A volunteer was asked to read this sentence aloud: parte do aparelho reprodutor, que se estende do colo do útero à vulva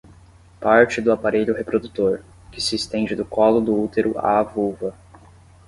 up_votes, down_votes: 10, 0